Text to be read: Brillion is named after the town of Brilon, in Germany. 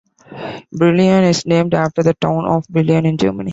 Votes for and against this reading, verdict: 2, 0, accepted